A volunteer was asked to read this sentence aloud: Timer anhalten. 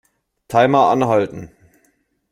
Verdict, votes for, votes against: accepted, 2, 0